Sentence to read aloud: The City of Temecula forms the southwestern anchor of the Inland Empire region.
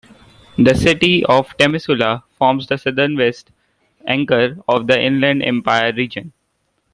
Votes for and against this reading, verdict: 1, 2, rejected